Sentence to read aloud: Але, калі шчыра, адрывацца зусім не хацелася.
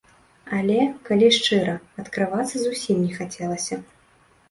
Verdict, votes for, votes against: rejected, 0, 2